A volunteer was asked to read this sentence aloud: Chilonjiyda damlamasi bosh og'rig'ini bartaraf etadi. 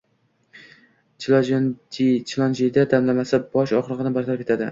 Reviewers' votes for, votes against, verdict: 0, 2, rejected